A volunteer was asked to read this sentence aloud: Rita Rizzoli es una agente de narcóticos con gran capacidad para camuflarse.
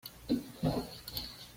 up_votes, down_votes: 1, 2